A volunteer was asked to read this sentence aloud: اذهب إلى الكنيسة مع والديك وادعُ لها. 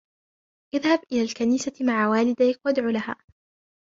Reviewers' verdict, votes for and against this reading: rejected, 0, 2